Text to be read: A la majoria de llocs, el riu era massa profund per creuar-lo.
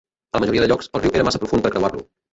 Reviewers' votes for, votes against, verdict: 0, 3, rejected